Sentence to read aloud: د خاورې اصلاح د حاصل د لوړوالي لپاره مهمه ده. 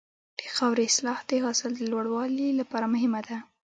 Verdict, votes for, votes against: rejected, 1, 2